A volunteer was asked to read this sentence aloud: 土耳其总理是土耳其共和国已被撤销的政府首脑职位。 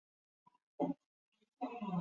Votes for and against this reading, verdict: 1, 2, rejected